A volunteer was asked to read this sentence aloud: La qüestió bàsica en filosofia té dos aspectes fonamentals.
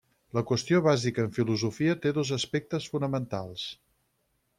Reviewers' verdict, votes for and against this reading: accepted, 6, 0